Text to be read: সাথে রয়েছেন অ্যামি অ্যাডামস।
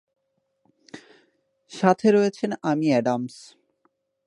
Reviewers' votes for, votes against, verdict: 4, 1, accepted